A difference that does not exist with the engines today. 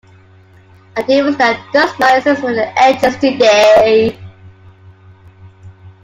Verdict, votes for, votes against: rejected, 1, 2